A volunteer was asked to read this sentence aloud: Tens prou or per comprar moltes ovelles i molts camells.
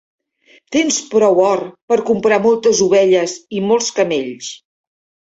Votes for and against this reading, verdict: 1, 2, rejected